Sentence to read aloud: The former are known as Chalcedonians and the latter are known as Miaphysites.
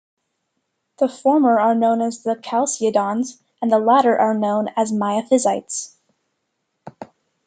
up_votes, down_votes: 2, 1